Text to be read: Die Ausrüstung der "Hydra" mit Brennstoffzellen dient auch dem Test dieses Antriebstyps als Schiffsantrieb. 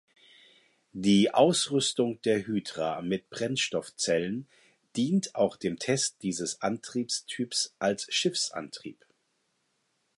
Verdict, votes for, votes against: accepted, 4, 0